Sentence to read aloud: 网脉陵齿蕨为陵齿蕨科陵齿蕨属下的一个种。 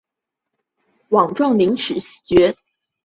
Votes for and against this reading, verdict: 0, 2, rejected